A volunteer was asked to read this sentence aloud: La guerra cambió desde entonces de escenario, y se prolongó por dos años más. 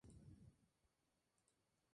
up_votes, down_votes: 0, 2